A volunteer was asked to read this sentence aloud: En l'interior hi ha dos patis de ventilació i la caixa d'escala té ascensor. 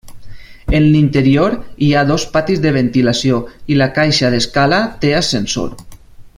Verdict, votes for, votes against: accepted, 3, 0